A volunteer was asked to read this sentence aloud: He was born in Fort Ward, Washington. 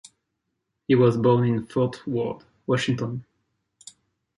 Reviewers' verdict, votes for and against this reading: accepted, 2, 0